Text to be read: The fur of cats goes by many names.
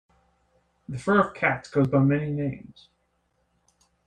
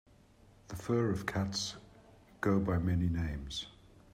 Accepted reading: first